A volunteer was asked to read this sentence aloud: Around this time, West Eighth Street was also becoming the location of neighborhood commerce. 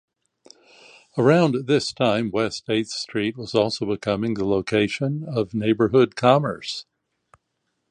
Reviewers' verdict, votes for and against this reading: accepted, 2, 0